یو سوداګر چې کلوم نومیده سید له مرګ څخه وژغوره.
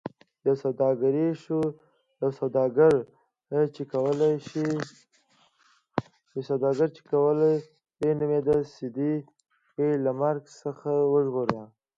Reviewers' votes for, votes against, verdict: 1, 2, rejected